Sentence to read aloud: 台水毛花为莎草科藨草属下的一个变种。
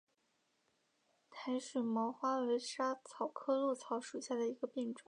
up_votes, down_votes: 3, 0